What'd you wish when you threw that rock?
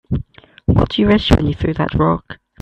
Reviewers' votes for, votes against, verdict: 1, 2, rejected